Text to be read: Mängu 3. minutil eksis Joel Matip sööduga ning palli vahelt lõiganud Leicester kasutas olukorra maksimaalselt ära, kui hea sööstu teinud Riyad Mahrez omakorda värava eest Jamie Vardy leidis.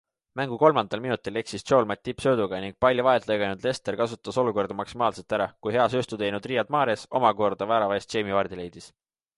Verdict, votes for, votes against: rejected, 0, 2